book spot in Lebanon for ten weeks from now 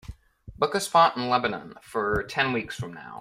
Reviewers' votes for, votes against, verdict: 0, 2, rejected